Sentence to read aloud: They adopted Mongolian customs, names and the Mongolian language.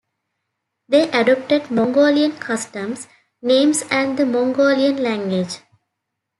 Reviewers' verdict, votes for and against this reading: accepted, 2, 0